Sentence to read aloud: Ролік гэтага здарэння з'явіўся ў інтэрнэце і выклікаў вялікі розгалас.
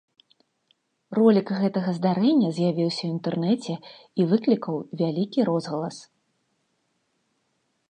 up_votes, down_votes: 2, 0